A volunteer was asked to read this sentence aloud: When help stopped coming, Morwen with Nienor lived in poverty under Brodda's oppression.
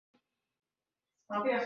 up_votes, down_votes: 0, 2